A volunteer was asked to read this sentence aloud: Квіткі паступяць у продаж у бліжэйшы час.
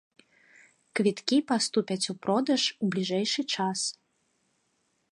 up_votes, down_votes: 2, 0